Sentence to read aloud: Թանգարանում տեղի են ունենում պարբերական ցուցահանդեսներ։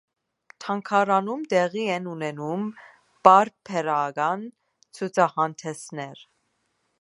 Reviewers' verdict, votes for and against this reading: accepted, 2, 0